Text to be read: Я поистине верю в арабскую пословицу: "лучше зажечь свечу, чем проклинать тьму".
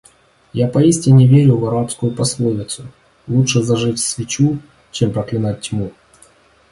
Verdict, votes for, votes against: accepted, 2, 0